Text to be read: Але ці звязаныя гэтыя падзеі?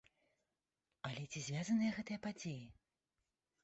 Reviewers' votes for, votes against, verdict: 1, 2, rejected